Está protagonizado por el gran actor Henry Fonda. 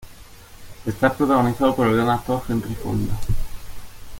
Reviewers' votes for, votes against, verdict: 0, 2, rejected